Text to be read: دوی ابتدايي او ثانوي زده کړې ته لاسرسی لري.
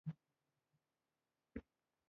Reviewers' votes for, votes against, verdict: 1, 2, rejected